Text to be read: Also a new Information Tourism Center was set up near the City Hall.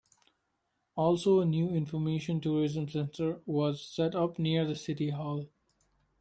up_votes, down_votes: 2, 0